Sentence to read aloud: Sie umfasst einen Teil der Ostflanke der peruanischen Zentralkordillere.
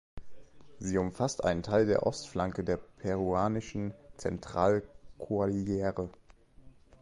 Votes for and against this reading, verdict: 0, 2, rejected